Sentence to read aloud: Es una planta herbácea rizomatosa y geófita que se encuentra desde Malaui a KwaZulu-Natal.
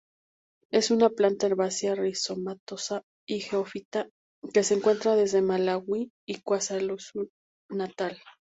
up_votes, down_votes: 2, 2